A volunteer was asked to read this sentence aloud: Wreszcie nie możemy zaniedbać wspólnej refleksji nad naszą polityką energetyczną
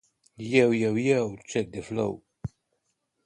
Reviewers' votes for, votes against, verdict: 0, 2, rejected